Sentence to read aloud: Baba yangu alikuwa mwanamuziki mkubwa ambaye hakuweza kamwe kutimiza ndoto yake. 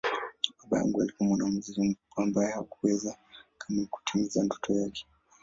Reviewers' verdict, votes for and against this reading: rejected, 5, 9